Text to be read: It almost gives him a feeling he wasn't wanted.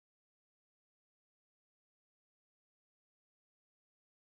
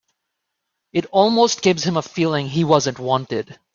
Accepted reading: second